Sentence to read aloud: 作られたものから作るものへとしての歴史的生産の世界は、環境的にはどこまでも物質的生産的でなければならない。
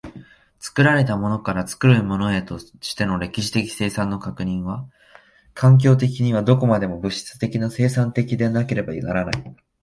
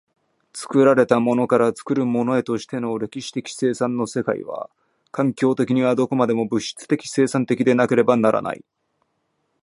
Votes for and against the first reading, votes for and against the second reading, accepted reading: 1, 2, 2, 0, second